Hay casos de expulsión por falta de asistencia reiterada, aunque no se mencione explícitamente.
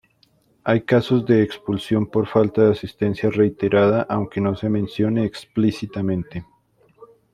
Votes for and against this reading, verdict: 2, 0, accepted